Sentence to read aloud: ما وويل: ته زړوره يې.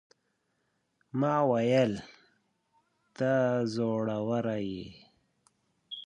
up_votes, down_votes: 2, 4